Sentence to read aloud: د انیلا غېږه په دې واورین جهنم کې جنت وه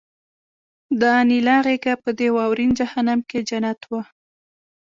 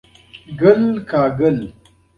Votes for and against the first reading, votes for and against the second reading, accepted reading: 1, 2, 2, 0, second